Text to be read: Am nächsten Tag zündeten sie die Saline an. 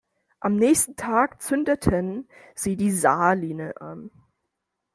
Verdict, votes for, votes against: accepted, 2, 0